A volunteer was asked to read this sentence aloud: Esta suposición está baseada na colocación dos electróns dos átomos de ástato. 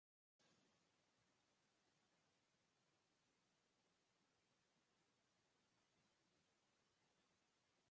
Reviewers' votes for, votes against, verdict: 0, 2, rejected